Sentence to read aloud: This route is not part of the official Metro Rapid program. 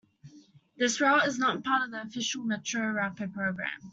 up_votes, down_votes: 2, 0